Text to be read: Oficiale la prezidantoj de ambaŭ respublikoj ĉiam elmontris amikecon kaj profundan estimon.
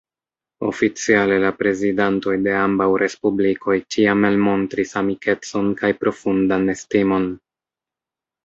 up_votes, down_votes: 2, 0